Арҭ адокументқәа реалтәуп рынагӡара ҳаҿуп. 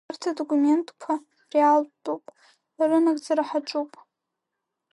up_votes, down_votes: 0, 2